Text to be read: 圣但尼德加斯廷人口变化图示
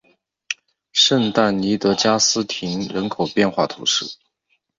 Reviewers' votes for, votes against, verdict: 6, 0, accepted